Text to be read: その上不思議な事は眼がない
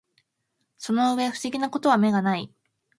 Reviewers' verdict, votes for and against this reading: accepted, 2, 0